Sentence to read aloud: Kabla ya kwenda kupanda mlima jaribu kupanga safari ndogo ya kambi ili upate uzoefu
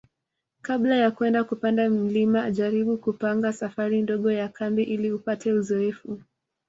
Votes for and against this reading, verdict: 2, 0, accepted